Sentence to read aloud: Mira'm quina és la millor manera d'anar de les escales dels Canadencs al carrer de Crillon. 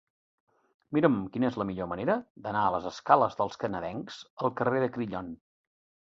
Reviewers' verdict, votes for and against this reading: rejected, 1, 2